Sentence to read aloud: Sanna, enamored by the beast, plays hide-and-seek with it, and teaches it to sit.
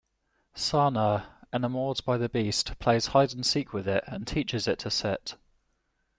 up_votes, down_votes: 2, 1